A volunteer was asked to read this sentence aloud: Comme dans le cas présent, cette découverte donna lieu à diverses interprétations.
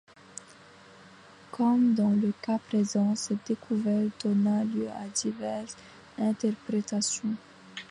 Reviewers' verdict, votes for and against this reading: accepted, 2, 1